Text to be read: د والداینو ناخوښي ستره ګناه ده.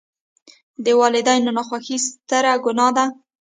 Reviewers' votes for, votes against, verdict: 2, 1, accepted